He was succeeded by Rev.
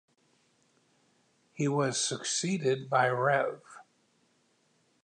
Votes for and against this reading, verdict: 2, 0, accepted